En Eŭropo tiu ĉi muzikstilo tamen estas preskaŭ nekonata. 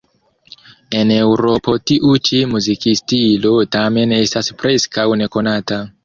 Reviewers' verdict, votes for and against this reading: accepted, 2, 0